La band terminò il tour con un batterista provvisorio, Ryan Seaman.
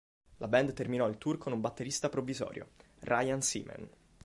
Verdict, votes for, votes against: accepted, 2, 0